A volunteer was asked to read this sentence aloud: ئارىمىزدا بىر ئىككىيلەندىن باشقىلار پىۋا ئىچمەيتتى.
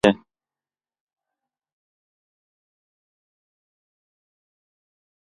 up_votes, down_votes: 0, 2